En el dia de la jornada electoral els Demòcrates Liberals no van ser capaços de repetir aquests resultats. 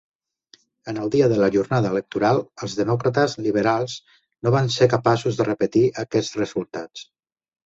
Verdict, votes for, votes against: accepted, 2, 0